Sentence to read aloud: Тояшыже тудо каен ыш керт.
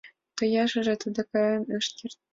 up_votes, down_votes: 2, 0